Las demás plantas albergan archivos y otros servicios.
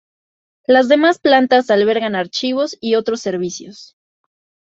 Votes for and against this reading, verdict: 2, 0, accepted